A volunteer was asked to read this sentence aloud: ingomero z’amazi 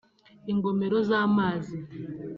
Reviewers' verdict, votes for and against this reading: accepted, 2, 0